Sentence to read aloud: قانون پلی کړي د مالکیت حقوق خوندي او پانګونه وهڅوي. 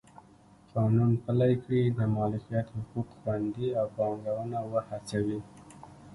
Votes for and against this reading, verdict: 1, 2, rejected